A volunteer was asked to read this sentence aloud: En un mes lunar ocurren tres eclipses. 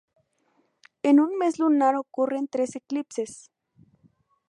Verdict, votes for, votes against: rejected, 0, 2